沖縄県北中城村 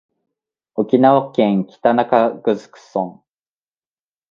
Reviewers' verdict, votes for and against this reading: accepted, 2, 0